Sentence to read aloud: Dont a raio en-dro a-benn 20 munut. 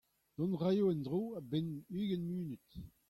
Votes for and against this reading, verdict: 0, 2, rejected